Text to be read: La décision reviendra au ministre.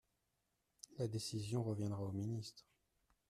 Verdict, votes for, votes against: accepted, 2, 0